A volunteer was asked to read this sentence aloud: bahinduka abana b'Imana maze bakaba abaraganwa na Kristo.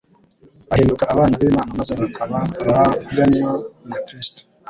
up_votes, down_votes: 1, 2